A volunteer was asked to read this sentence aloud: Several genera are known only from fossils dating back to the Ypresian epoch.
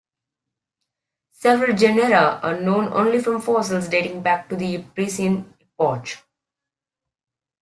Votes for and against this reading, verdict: 1, 2, rejected